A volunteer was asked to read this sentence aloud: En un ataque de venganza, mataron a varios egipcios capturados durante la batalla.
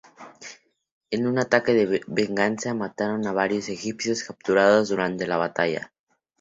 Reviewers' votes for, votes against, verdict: 2, 0, accepted